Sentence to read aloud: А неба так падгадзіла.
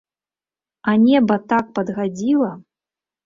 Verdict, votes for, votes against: rejected, 0, 2